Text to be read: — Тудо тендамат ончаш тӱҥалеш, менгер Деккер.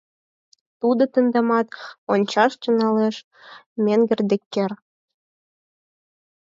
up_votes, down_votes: 4, 0